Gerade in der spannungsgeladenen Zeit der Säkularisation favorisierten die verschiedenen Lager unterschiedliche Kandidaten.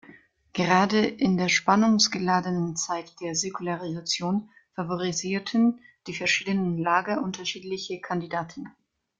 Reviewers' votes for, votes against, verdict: 2, 0, accepted